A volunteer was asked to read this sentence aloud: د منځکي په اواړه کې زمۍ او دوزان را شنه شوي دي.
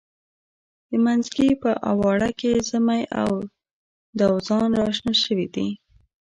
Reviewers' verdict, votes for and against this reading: accepted, 2, 0